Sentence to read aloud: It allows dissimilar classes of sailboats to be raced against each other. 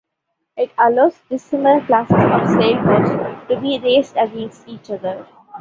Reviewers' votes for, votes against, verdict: 2, 1, accepted